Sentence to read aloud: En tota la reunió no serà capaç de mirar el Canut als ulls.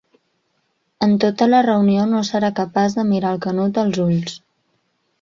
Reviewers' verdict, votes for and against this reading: accepted, 2, 0